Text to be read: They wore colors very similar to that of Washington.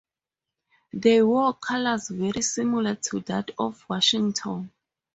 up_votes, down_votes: 2, 0